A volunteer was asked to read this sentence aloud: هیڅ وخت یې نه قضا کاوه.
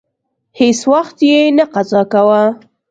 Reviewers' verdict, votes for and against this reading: accepted, 2, 0